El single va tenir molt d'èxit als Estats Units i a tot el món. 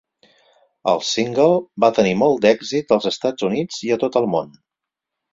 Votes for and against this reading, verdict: 6, 0, accepted